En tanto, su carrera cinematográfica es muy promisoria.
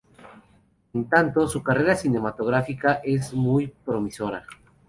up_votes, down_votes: 4, 2